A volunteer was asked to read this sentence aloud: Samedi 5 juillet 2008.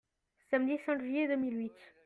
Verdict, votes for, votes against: rejected, 0, 2